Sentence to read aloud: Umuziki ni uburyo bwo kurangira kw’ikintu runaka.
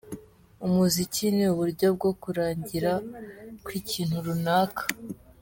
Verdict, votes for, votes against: accepted, 3, 0